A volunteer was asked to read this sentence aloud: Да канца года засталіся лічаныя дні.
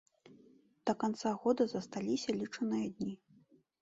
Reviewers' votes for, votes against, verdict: 2, 0, accepted